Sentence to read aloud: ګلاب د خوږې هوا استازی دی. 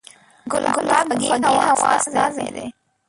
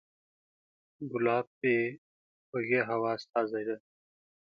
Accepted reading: second